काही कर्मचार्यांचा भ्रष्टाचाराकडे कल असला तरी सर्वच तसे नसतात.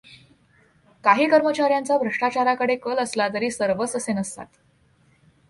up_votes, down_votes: 2, 0